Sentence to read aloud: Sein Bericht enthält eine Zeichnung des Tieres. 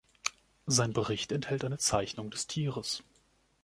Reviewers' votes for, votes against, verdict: 2, 0, accepted